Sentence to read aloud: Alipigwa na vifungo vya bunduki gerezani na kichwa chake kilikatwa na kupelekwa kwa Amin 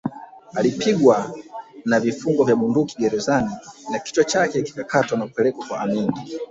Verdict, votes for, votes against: rejected, 2, 3